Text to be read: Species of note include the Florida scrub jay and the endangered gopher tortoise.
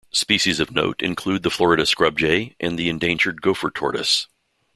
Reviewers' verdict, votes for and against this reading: accepted, 2, 0